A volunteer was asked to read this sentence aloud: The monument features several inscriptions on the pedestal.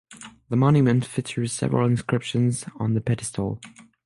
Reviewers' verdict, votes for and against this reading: accepted, 6, 0